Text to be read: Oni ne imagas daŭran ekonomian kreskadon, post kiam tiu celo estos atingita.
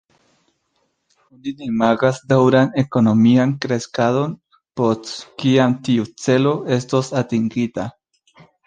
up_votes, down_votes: 0, 2